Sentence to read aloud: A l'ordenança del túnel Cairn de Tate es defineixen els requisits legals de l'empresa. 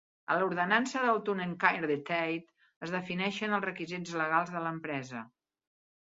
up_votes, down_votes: 2, 0